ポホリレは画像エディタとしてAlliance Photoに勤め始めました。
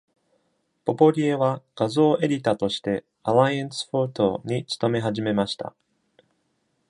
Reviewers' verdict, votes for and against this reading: rejected, 1, 2